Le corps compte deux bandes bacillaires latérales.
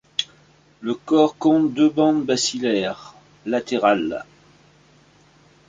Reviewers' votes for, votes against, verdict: 2, 0, accepted